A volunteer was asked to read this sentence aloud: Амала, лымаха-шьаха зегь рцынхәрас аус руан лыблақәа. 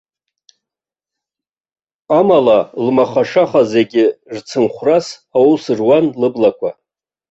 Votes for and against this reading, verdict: 1, 2, rejected